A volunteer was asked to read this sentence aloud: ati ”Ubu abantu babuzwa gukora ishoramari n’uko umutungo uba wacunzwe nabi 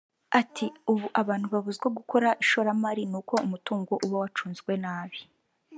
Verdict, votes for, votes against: accepted, 4, 0